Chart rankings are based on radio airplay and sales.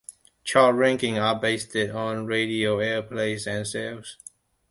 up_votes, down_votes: 2, 1